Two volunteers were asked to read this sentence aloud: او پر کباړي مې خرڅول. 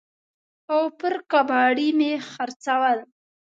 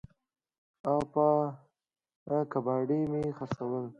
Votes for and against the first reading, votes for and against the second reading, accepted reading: 2, 0, 0, 2, first